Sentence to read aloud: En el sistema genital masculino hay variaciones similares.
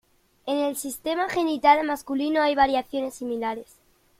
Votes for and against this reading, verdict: 2, 0, accepted